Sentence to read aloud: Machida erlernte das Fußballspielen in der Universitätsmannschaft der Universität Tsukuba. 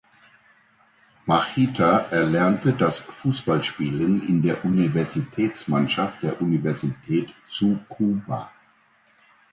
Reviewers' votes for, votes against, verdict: 0, 2, rejected